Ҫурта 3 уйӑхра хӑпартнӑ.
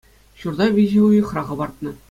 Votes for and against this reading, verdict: 0, 2, rejected